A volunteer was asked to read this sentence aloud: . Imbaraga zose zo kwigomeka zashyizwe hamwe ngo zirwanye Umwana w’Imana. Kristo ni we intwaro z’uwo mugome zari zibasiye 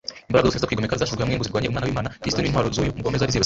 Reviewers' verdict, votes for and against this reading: rejected, 0, 2